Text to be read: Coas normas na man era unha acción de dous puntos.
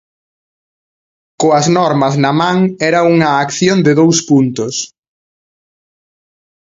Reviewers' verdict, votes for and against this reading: accepted, 2, 0